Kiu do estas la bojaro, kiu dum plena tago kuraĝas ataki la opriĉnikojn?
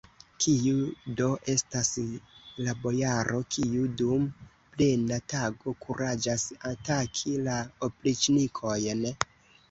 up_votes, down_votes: 2, 1